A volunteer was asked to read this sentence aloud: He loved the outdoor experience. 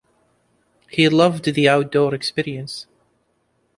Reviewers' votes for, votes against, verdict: 2, 0, accepted